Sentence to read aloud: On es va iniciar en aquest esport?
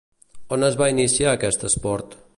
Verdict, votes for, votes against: rejected, 0, 2